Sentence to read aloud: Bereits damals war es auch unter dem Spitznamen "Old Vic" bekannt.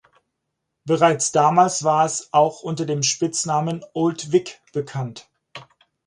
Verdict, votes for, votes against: accepted, 4, 0